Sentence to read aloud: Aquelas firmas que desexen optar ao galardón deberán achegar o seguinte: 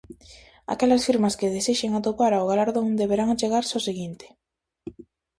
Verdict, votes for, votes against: rejected, 0, 4